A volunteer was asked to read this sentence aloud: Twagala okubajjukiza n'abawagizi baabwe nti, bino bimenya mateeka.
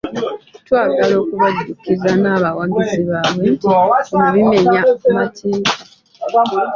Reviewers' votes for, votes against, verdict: 1, 2, rejected